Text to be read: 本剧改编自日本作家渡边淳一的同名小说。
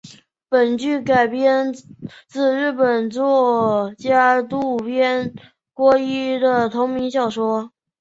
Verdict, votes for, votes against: rejected, 0, 2